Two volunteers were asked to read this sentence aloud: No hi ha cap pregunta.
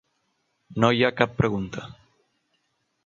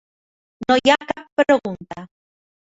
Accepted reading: first